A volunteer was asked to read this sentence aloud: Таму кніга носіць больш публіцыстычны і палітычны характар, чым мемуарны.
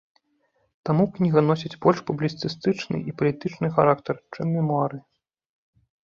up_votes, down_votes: 1, 2